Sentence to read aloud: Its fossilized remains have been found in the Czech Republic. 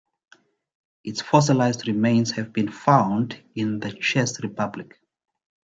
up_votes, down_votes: 0, 2